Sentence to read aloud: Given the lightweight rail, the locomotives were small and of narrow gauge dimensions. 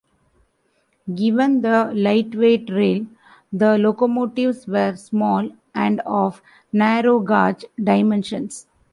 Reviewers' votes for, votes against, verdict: 0, 2, rejected